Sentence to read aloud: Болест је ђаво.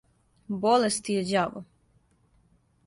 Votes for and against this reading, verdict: 2, 1, accepted